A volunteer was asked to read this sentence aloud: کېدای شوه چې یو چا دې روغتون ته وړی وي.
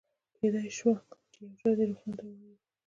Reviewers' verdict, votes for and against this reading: accepted, 2, 0